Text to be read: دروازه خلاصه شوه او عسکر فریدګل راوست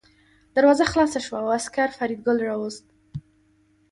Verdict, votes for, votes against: accepted, 2, 0